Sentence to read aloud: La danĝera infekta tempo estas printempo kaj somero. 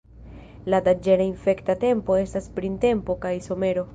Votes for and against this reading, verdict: 0, 2, rejected